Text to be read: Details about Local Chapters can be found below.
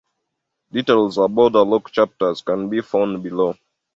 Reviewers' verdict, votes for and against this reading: accepted, 2, 0